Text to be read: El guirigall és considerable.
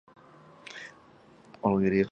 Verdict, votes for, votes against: rejected, 0, 2